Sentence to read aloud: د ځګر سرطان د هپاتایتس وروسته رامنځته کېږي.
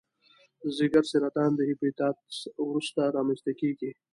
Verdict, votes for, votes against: accepted, 2, 0